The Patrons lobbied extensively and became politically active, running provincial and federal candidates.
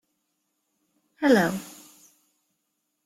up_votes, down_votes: 0, 2